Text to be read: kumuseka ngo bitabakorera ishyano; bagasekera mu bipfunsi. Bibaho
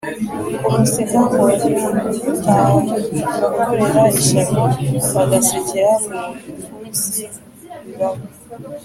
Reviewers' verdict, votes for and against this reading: accepted, 2, 0